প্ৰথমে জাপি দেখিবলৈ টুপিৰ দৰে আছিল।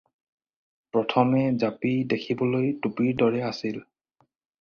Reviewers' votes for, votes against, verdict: 4, 0, accepted